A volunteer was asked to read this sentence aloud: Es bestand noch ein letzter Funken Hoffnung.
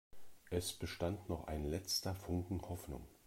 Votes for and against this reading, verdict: 2, 0, accepted